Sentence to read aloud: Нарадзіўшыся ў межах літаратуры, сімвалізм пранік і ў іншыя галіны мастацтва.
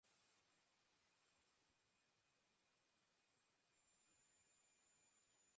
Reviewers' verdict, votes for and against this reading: rejected, 0, 3